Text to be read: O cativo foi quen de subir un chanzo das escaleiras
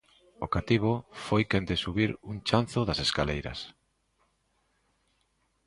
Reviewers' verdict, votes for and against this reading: accepted, 2, 0